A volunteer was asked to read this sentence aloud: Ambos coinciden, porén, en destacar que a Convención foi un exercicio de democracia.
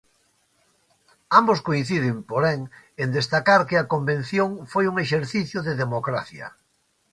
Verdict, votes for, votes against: accepted, 2, 0